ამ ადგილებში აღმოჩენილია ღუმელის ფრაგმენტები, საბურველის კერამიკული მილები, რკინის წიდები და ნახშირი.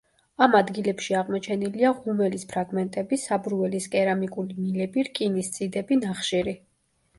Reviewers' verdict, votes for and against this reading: accepted, 2, 0